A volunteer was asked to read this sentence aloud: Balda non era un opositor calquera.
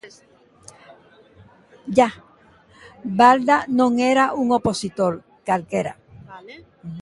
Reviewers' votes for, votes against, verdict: 0, 2, rejected